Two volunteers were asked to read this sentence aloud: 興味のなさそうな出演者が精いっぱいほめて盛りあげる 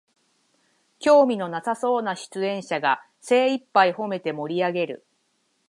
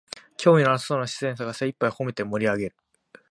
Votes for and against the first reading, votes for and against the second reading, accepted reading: 141, 9, 1, 2, first